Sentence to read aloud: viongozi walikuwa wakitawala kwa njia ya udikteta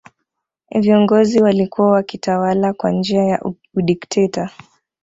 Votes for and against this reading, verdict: 2, 0, accepted